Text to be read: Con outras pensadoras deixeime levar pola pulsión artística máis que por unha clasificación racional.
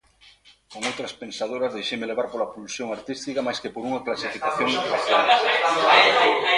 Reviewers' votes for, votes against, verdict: 0, 2, rejected